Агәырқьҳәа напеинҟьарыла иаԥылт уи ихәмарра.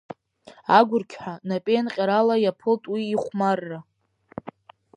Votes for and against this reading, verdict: 2, 1, accepted